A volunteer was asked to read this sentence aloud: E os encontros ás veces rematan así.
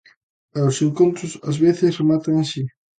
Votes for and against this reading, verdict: 2, 0, accepted